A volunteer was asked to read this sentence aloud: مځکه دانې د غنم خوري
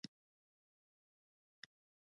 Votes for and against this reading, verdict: 1, 2, rejected